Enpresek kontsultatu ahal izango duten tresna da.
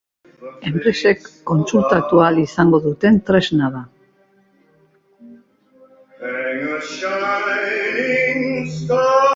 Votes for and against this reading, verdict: 1, 2, rejected